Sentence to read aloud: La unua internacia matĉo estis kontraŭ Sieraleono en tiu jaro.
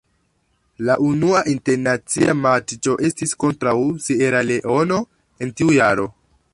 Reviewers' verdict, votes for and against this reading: rejected, 0, 2